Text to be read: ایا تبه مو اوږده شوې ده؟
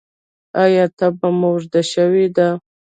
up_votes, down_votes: 0, 2